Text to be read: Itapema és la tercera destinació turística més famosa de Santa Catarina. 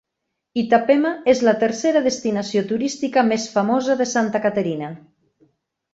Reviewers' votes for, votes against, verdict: 2, 0, accepted